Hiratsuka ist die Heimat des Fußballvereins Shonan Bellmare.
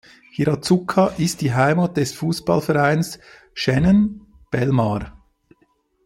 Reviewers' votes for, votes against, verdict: 0, 2, rejected